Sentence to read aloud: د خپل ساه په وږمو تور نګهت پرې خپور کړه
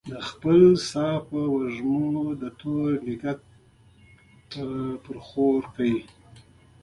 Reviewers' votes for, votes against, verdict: 2, 1, accepted